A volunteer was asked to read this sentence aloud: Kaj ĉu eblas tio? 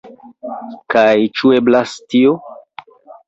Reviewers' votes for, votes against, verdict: 3, 0, accepted